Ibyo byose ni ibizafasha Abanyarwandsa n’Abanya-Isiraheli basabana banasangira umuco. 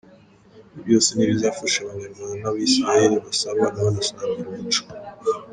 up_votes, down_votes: 2, 0